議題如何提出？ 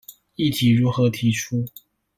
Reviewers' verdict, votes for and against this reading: accepted, 2, 0